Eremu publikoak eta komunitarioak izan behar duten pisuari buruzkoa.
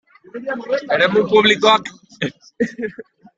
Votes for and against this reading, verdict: 0, 2, rejected